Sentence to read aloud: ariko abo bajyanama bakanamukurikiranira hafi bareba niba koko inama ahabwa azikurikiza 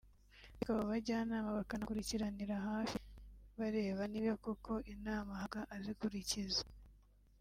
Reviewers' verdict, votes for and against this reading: rejected, 1, 2